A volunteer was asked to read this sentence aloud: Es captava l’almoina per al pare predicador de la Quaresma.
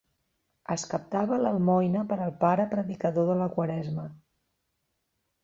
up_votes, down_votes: 2, 0